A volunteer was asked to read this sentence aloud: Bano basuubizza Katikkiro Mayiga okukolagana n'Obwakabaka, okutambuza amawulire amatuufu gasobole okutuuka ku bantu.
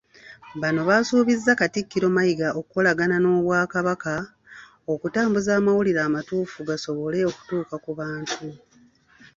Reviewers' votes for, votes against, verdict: 2, 0, accepted